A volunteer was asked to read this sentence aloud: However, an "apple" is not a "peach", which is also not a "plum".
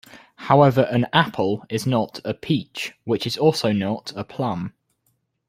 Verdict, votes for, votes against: accepted, 2, 0